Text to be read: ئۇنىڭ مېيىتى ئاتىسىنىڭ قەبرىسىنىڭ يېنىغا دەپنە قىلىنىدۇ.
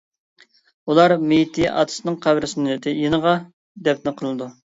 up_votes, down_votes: 0, 2